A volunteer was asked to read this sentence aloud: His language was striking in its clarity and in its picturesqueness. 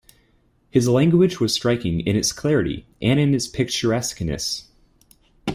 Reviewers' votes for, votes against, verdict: 2, 0, accepted